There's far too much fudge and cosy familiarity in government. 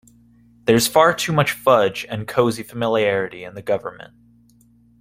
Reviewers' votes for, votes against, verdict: 2, 1, accepted